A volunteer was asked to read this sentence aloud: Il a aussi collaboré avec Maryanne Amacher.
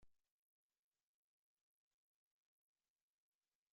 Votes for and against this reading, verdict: 0, 2, rejected